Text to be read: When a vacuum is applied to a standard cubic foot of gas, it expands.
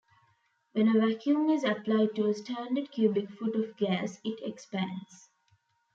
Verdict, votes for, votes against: accepted, 3, 0